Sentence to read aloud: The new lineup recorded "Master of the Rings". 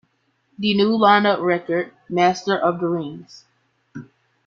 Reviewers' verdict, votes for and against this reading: accepted, 2, 1